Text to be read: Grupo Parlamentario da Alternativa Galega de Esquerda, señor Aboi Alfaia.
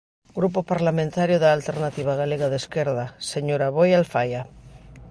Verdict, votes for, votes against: accepted, 2, 0